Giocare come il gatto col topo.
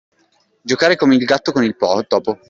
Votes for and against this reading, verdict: 0, 2, rejected